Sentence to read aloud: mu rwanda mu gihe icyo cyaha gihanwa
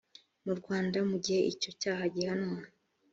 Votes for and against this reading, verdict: 2, 0, accepted